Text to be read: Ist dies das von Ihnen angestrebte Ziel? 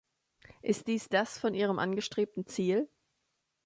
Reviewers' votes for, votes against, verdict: 2, 3, rejected